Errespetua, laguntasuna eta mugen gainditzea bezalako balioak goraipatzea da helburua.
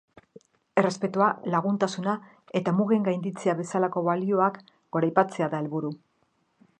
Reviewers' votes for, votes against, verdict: 1, 2, rejected